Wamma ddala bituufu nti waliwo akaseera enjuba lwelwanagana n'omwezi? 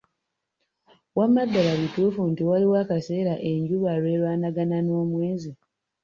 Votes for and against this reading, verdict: 2, 0, accepted